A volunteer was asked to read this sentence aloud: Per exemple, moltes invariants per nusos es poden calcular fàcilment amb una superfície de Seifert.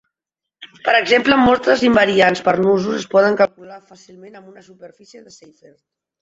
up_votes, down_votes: 0, 2